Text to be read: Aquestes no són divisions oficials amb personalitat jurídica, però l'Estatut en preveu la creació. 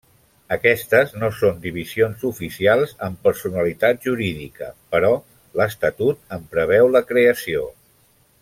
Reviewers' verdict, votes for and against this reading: accepted, 3, 0